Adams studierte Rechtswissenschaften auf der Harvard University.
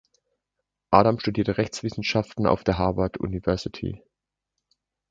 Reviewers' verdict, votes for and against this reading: accepted, 2, 1